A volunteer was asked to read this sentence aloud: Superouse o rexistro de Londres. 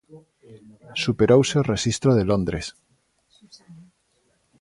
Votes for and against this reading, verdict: 46, 6, accepted